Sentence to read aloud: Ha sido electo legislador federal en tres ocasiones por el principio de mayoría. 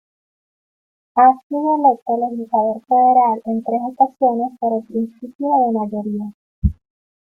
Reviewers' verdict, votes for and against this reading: rejected, 1, 2